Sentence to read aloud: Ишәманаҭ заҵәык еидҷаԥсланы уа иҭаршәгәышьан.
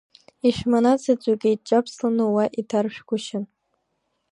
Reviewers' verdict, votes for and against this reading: accepted, 2, 1